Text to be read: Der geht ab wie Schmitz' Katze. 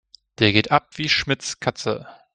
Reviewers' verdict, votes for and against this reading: accepted, 2, 0